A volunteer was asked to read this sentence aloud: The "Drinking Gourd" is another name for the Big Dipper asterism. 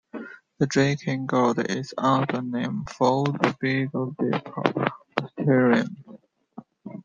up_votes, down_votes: 1, 2